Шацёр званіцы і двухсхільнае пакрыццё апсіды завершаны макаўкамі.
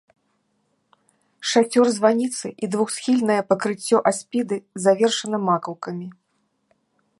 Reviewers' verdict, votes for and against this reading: rejected, 0, 2